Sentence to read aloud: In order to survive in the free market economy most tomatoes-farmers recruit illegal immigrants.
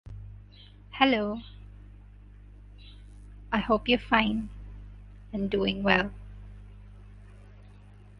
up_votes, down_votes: 0, 2